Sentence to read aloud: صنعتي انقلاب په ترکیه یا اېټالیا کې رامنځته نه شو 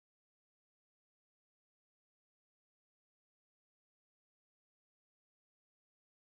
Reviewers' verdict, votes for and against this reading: rejected, 0, 2